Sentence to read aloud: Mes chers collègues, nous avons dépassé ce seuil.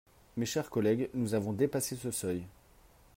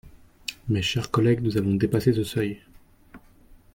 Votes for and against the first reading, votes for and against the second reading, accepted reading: 3, 0, 1, 2, first